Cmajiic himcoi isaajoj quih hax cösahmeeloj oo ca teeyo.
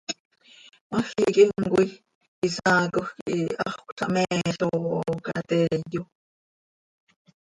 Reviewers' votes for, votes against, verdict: 2, 3, rejected